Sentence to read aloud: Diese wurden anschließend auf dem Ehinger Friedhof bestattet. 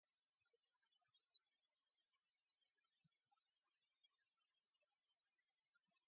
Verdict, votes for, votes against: rejected, 0, 2